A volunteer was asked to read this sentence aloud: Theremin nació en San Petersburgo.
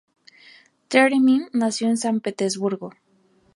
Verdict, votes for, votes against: rejected, 0, 2